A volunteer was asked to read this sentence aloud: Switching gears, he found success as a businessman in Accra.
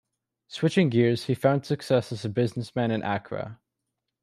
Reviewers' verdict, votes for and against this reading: accepted, 2, 0